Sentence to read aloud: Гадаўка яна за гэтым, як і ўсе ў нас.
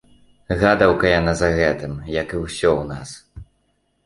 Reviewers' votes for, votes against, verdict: 1, 2, rejected